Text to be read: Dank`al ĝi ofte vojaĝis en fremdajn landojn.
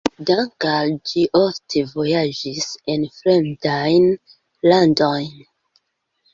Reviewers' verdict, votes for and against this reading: rejected, 1, 2